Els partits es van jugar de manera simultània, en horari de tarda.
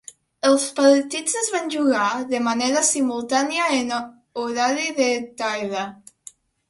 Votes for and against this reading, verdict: 1, 2, rejected